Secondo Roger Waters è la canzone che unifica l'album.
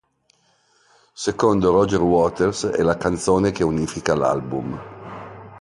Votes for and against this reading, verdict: 2, 0, accepted